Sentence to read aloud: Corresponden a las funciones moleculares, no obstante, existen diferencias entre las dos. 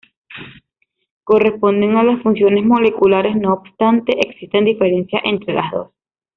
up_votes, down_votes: 1, 2